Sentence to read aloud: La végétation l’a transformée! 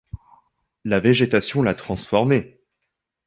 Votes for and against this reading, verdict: 2, 0, accepted